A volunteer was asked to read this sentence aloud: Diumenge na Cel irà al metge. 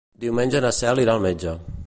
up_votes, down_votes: 2, 0